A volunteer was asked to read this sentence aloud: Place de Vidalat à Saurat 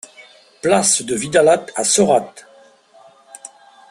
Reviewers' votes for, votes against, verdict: 1, 2, rejected